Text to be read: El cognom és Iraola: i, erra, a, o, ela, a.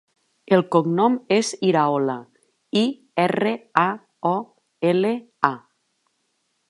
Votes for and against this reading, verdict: 2, 1, accepted